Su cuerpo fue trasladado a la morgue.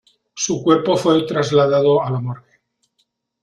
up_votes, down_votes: 0, 2